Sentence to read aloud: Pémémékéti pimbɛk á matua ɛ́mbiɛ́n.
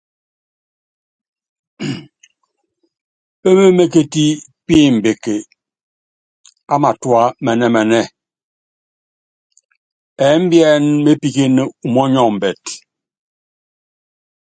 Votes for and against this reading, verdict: 2, 0, accepted